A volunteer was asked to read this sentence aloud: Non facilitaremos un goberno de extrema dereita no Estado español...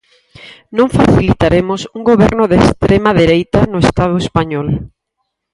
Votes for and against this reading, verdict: 0, 4, rejected